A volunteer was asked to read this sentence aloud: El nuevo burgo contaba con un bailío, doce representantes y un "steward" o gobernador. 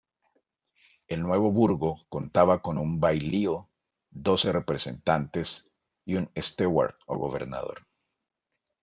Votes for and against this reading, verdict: 3, 0, accepted